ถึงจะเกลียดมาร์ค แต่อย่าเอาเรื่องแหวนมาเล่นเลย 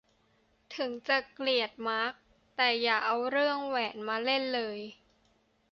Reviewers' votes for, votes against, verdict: 2, 0, accepted